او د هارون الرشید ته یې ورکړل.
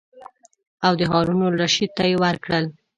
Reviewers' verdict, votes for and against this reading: accepted, 2, 0